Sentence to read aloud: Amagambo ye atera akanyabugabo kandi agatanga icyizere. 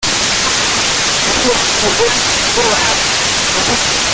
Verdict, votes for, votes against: rejected, 0, 2